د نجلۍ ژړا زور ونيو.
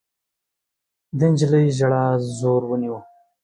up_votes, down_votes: 2, 0